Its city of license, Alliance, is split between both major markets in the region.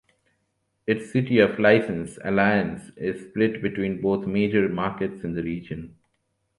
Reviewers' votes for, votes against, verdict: 0, 2, rejected